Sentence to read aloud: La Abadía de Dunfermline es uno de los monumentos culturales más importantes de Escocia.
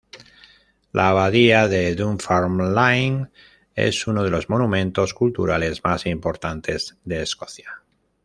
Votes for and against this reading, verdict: 0, 2, rejected